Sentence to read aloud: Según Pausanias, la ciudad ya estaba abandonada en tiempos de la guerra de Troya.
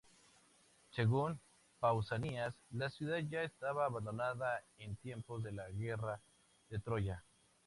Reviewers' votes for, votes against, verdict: 2, 0, accepted